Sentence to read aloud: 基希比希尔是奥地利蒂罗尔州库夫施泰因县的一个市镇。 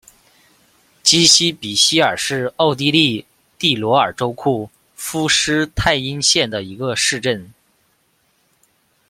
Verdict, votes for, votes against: rejected, 1, 2